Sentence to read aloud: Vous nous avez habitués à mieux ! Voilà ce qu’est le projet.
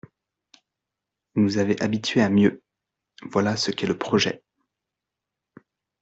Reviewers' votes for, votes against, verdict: 1, 2, rejected